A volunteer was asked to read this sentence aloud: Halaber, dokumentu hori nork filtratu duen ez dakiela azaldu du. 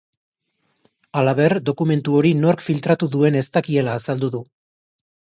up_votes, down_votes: 3, 0